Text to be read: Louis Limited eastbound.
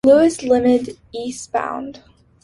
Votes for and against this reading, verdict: 2, 1, accepted